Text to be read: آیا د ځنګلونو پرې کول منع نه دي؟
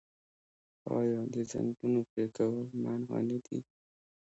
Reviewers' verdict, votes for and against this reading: accepted, 2, 0